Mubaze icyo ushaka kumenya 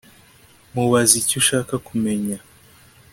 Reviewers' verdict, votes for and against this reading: accepted, 2, 0